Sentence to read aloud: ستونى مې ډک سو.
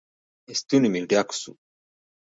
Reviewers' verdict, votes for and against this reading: rejected, 1, 2